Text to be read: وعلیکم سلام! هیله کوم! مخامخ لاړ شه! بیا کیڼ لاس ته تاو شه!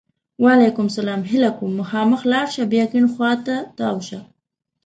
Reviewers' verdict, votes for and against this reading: rejected, 1, 2